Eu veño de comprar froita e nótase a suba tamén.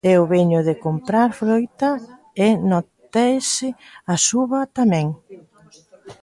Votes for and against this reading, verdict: 0, 2, rejected